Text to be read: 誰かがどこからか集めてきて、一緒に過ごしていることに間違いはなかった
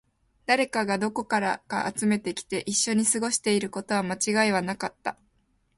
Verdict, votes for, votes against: accepted, 3, 0